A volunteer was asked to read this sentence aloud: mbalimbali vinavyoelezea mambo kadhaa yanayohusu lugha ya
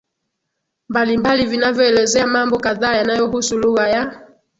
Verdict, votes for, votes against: accepted, 16, 0